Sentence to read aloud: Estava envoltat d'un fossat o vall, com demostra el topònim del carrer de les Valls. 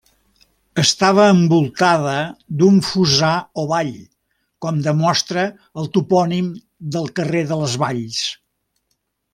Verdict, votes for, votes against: rejected, 0, 2